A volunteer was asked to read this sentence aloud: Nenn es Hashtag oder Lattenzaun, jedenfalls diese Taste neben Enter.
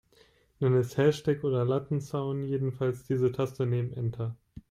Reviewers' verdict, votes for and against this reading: rejected, 1, 2